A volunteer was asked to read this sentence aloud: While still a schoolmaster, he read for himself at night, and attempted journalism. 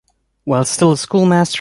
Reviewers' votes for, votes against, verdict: 0, 2, rejected